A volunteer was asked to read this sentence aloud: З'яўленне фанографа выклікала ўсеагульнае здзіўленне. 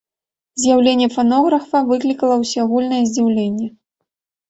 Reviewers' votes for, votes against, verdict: 3, 1, accepted